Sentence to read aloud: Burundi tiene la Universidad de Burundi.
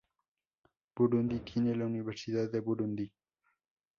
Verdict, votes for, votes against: rejected, 0, 2